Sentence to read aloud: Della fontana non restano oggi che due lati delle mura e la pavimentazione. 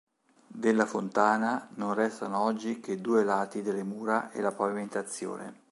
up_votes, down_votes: 2, 0